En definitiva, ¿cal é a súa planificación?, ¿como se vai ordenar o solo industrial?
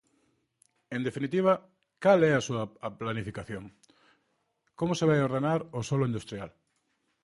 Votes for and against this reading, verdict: 1, 2, rejected